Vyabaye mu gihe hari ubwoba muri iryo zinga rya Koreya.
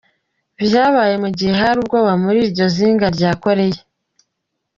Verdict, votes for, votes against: accepted, 2, 0